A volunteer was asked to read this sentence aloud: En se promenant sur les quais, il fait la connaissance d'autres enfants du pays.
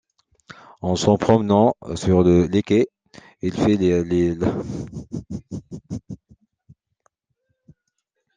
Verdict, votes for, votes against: rejected, 0, 2